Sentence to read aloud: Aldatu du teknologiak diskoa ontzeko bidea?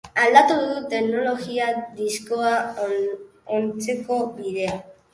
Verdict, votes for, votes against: rejected, 1, 2